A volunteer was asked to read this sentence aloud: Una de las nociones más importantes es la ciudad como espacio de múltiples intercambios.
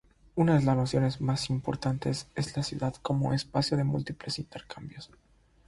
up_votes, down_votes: 3, 0